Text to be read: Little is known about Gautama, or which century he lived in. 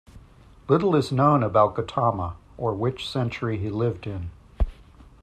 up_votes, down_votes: 2, 0